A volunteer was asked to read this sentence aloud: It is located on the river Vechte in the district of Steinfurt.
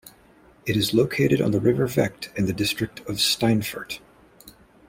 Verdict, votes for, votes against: accepted, 2, 0